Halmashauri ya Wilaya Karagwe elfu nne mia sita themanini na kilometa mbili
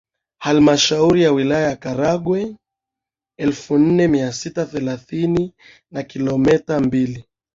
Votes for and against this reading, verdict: 1, 2, rejected